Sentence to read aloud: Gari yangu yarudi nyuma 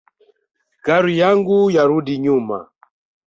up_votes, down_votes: 2, 1